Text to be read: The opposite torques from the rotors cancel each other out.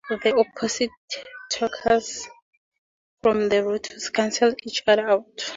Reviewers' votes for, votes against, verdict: 0, 4, rejected